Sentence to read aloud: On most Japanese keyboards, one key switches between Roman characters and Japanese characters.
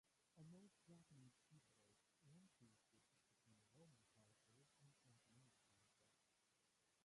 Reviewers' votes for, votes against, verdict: 0, 2, rejected